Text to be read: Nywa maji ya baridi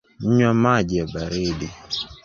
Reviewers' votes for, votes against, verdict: 2, 1, accepted